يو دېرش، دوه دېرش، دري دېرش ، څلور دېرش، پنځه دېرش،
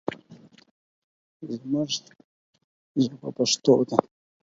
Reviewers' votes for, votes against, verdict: 0, 4, rejected